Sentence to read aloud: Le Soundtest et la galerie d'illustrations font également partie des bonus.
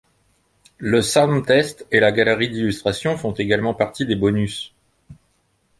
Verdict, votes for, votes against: accepted, 2, 0